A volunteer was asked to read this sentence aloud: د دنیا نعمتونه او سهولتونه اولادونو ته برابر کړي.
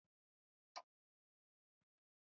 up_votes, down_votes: 0, 2